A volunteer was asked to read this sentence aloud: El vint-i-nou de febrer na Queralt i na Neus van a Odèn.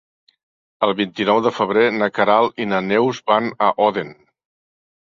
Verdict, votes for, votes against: accepted, 2, 0